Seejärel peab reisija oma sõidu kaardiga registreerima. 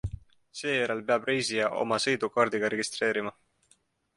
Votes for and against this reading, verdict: 2, 0, accepted